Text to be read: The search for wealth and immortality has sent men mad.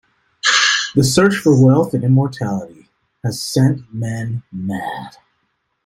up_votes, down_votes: 1, 2